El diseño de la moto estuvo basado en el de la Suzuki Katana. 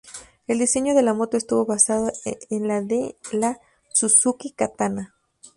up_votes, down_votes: 0, 2